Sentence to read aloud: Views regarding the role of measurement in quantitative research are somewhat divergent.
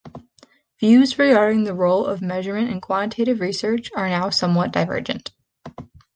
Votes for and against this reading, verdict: 0, 2, rejected